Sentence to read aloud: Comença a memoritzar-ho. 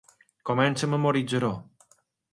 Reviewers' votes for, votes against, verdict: 3, 0, accepted